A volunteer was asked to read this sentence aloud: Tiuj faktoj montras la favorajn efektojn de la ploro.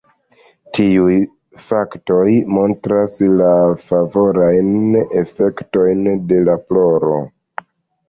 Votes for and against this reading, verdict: 2, 0, accepted